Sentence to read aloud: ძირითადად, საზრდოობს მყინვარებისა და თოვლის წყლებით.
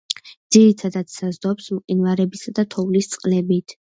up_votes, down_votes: 2, 0